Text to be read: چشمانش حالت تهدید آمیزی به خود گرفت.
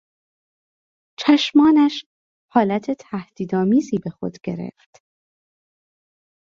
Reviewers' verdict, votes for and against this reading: accepted, 2, 0